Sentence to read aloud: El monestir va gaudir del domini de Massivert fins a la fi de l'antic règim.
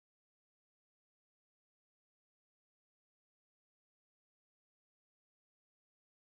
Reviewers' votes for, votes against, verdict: 0, 2, rejected